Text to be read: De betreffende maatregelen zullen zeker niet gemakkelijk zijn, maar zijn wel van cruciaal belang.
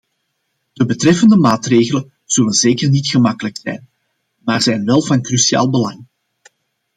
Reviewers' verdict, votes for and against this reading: accepted, 2, 0